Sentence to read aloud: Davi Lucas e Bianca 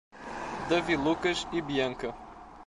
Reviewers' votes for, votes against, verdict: 2, 0, accepted